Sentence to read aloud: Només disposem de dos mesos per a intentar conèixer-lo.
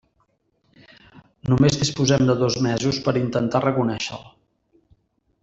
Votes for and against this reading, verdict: 0, 2, rejected